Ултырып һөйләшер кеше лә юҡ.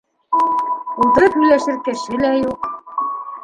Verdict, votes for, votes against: rejected, 1, 2